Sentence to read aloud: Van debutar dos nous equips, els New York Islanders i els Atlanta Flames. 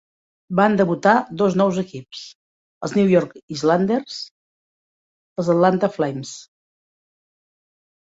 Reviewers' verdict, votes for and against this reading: rejected, 1, 2